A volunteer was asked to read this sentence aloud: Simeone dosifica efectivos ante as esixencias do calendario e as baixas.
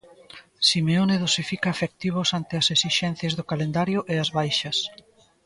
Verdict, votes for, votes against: accepted, 2, 0